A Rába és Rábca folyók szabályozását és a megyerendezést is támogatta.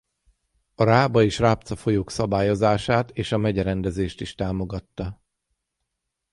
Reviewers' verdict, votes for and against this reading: accepted, 6, 0